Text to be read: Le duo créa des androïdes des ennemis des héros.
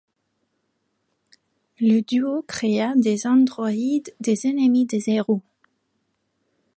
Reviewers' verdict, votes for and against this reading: rejected, 1, 2